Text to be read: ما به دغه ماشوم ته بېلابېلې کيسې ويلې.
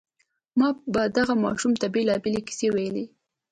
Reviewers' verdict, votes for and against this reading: accepted, 2, 0